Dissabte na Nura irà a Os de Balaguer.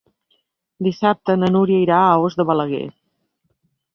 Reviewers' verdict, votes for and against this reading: rejected, 0, 2